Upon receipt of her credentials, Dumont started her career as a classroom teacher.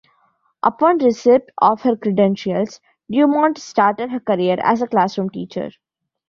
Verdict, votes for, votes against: accepted, 6, 3